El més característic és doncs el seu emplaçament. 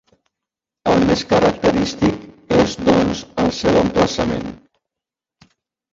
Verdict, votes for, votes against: rejected, 0, 2